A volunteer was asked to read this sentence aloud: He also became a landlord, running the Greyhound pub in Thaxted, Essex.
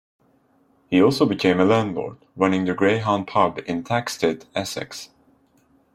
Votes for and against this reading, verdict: 2, 0, accepted